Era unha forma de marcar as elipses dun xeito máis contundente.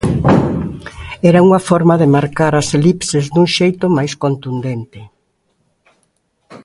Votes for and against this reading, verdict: 3, 0, accepted